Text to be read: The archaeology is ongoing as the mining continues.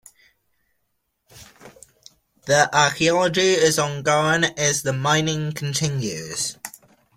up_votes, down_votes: 2, 0